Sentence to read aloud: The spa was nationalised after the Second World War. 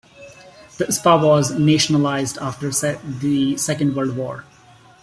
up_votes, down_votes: 0, 2